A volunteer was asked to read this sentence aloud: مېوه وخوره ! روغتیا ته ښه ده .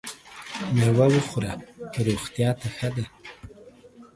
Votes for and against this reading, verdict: 0, 2, rejected